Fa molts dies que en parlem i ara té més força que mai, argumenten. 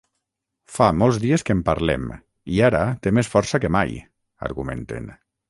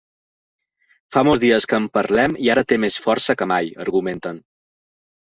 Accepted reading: second